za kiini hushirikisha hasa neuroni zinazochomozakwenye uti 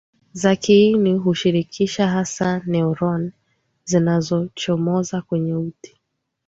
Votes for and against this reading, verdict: 2, 0, accepted